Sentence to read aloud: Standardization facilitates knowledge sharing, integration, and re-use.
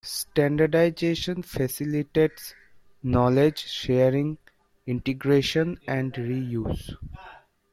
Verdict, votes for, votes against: rejected, 1, 2